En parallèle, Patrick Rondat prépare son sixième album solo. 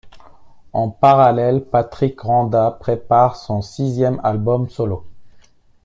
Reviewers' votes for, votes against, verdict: 2, 0, accepted